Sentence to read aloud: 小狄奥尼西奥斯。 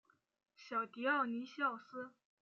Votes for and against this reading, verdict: 2, 0, accepted